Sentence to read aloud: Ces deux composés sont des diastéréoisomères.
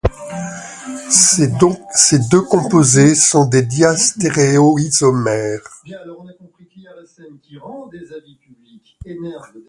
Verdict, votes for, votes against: rejected, 1, 2